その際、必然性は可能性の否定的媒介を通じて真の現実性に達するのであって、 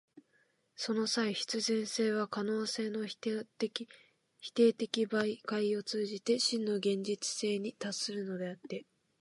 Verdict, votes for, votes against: accepted, 2, 1